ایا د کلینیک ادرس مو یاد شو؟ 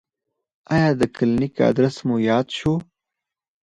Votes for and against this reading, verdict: 2, 4, rejected